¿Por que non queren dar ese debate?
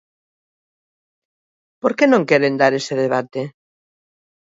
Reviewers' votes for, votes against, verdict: 2, 0, accepted